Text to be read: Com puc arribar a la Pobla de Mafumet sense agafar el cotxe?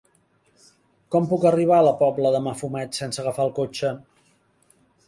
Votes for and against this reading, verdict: 3, 1, accepted